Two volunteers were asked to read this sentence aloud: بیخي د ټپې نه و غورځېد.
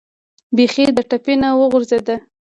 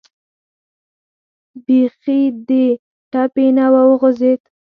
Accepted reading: second